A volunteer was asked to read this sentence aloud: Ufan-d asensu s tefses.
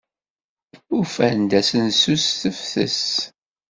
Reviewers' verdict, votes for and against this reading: rejected, 1, 2